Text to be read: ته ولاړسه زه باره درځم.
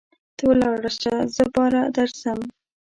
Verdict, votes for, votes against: rejected, 0, 2